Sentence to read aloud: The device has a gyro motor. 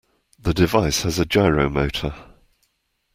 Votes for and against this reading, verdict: 2, 0, accepted